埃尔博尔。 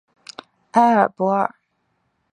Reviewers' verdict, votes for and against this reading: accepted, 2, 0